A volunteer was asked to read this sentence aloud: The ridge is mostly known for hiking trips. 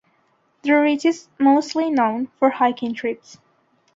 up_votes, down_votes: 2, 0